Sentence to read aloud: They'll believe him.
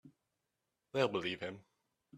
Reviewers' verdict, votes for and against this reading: accepted, 3, 0